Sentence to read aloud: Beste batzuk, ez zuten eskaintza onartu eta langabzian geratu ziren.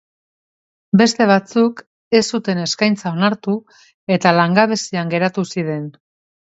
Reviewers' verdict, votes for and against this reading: accepted, 2, 0